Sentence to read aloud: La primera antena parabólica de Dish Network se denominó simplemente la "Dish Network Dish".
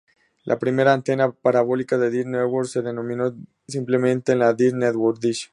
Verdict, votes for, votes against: accepted, 4, 0